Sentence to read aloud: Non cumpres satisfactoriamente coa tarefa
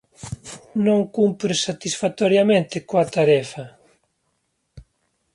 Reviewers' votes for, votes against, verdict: 2, 0, accepted